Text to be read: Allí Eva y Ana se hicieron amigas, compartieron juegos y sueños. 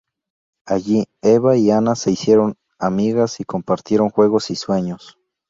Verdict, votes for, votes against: rejected, 0, 2